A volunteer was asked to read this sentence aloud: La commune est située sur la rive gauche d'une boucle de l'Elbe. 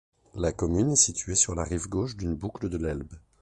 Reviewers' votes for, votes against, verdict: 2, 0, accepted